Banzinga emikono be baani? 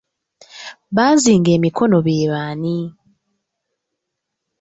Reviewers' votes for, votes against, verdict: 1, 2, rejected